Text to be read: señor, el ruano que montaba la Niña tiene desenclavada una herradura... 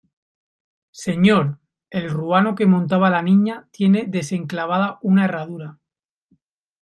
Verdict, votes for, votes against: accepted, 2, 0